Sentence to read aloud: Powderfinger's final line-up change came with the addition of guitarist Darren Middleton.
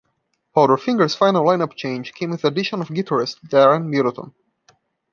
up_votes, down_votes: 1, 2